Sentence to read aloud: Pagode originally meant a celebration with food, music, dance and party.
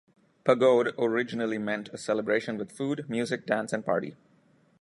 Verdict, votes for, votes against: accepted, 2, 0